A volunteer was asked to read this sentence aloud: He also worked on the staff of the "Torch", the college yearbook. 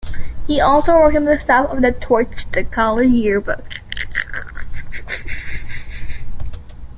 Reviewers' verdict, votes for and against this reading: accepted, 2, 1